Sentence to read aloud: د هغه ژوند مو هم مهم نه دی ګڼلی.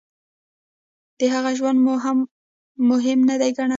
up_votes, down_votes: 1, 2